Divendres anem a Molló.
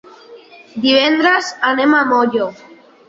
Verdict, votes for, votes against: rejected, 1, 2